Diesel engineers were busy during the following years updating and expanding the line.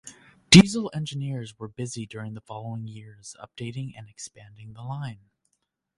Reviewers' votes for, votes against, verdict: 2, 0, accepted